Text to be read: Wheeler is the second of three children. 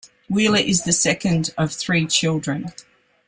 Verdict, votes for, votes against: accepted, 2, 0